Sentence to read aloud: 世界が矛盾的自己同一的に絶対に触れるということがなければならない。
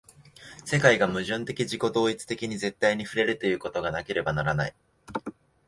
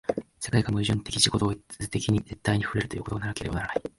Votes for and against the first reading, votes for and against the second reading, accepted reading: 4, 0, 1, 2, first